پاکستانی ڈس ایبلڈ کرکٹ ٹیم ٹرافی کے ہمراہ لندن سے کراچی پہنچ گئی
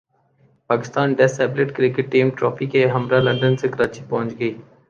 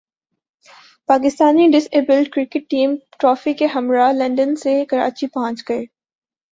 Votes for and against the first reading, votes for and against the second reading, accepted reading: 5, 2, 1, 2, first